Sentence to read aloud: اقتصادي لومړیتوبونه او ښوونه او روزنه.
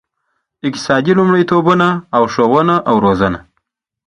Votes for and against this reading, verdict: 2, 0, accepted